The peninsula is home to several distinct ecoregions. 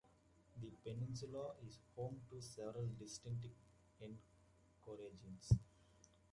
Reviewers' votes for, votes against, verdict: 2, 0, accepted